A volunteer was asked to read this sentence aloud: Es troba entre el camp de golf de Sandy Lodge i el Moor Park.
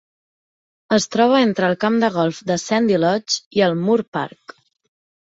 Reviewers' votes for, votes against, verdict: 3, 0, accepted